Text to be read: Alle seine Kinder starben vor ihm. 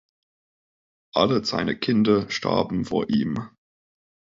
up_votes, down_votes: 2, 0